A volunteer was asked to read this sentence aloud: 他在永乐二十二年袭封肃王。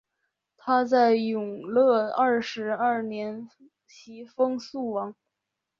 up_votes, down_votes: 3, 0